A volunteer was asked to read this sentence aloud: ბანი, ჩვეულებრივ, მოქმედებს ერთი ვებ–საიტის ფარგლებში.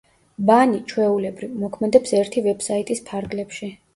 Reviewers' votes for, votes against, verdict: 1, 2, rejected